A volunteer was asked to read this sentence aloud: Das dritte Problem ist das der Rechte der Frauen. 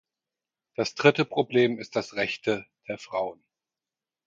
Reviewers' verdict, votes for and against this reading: rejected, 0, 4